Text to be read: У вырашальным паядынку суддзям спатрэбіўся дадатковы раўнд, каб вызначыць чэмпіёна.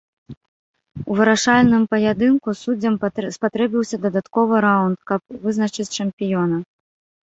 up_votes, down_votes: 0, 2